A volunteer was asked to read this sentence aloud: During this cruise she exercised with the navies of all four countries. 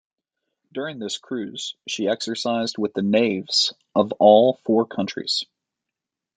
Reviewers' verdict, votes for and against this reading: accepted, 2, 1